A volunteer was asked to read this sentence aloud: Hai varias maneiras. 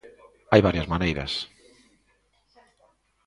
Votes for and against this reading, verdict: 0, 2, rejected